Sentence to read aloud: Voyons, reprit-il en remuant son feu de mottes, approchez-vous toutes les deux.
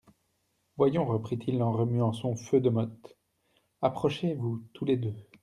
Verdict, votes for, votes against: rejected, 1, 2